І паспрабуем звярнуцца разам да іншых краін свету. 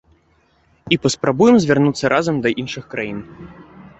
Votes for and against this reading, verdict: 0, 2, rejected